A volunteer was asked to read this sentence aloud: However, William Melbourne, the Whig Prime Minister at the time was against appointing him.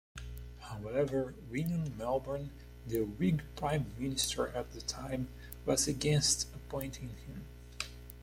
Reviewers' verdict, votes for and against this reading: accepted, 2, 0